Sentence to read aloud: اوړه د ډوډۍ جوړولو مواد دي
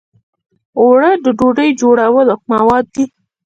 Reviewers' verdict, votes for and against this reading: rejected, 1, 2